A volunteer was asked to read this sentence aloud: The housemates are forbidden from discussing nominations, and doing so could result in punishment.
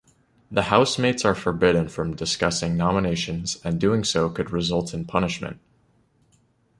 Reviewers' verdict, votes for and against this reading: accepted, 2, 0